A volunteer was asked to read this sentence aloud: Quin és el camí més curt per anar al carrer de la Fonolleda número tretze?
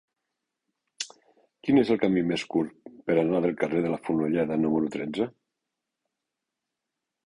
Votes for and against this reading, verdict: 1, 2, rejected